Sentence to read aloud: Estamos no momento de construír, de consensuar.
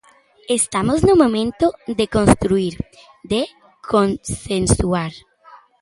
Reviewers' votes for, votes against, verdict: 2, 1, accepted